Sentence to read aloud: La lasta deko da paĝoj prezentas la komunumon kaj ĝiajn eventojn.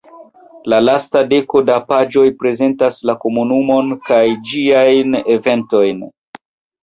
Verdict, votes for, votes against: accepted, 2, 0